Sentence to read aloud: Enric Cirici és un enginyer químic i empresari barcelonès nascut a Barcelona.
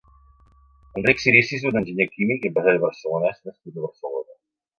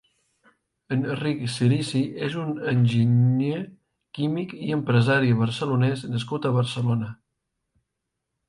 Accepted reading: second